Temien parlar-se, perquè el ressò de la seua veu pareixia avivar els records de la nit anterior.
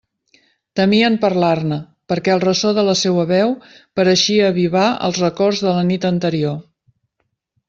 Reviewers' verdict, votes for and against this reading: rejected, 1, 2